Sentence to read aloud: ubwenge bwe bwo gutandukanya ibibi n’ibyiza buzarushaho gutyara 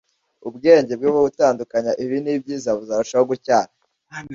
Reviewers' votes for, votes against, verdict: 2, 0, accepted